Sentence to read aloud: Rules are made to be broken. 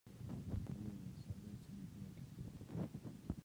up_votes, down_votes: 0, 2